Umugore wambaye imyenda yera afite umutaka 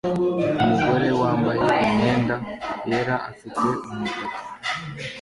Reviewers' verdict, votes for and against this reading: rejected, 0, 2